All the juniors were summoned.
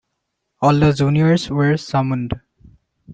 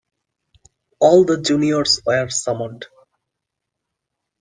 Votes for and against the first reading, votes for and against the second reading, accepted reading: 1, 2, 2, 0, second